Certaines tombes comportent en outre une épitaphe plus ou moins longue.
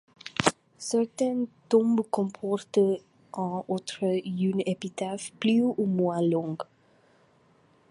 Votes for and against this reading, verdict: 1, 2, rejected